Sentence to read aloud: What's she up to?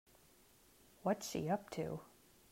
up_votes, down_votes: 2, 0